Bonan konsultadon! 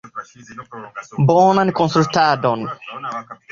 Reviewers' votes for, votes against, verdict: 0, 2, rejected